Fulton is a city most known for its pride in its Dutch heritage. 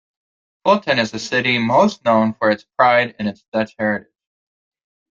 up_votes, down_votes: 1, 2